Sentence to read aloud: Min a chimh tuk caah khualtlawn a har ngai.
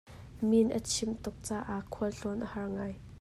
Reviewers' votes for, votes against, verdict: 2, 0, accepted